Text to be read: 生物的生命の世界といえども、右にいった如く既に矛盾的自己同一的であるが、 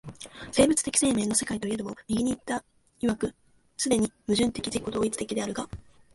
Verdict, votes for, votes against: rejected, 0, 2